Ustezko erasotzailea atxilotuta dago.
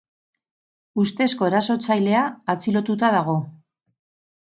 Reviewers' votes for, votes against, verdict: 6, 0, accepted